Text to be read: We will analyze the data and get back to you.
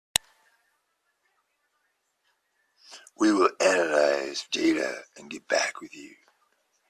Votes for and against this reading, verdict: 1, 2, rejected